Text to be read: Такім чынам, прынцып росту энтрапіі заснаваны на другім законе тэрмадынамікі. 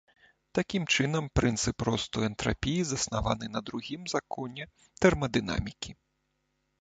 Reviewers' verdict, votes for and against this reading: accepted, 2, 0